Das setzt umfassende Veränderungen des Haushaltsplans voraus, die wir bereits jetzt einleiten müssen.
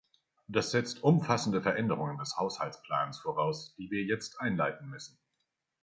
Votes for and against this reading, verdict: 0, 2, rejected